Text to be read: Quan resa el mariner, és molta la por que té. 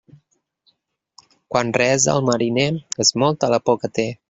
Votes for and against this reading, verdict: 0, 2, rejected